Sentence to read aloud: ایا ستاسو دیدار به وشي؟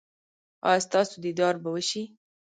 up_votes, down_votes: 2, 0